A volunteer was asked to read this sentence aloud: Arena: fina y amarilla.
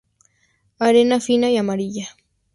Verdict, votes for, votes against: accepted, 4, 0